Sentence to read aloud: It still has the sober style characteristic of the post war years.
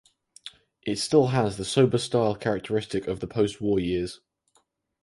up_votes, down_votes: 4, 0